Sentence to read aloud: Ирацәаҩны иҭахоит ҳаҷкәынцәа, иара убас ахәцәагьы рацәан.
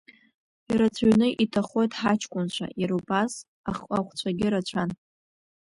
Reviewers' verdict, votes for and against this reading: rejected, 1, 2